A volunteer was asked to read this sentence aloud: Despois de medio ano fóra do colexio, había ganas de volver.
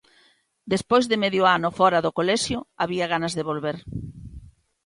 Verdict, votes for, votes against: accepted, 2, 0